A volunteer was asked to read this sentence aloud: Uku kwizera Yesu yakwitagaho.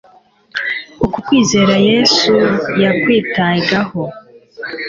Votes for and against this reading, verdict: 2, 0, accepted